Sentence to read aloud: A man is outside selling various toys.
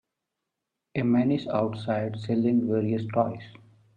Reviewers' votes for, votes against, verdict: 2, 1, accepted